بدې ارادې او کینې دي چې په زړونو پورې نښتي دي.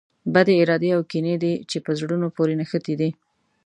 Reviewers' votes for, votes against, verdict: 2, 0, accepted